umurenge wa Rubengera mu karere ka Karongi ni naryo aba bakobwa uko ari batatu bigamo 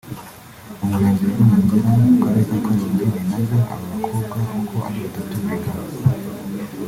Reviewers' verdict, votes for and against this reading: rejected, 0, 2